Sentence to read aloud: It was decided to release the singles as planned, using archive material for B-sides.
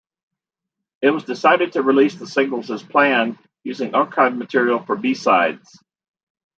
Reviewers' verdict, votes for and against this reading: accepted, 2, 0